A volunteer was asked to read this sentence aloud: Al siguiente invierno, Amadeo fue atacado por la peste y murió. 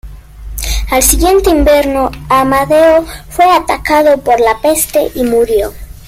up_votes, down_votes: 1, 2